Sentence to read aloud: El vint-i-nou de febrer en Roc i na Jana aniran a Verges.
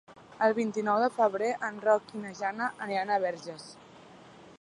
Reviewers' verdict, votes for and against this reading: accepted, 2, 0